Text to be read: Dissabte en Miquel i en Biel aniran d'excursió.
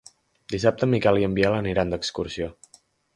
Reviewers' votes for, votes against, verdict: 2, 0, accepted